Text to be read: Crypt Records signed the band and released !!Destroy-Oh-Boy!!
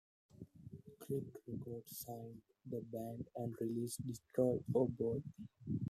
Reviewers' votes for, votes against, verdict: 1, 2, rejected